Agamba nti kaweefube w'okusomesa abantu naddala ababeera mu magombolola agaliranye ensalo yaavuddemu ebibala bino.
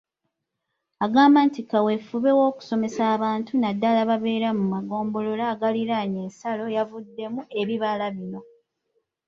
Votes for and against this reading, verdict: 2, 0, accepted